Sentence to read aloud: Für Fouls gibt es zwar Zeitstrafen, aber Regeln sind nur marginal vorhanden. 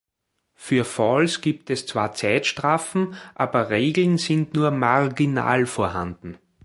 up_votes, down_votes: 2, 0